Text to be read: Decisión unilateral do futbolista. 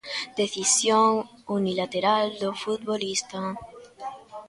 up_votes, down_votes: 2, 0